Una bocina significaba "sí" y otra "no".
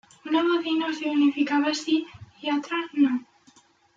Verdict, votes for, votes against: accepted, 2, 0